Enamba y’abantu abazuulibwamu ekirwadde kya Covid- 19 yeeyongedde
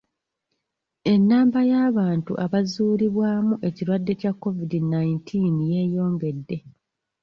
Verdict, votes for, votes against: rejected, 0, 2